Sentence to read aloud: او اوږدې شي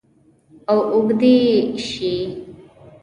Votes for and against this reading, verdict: 0, 2, rejected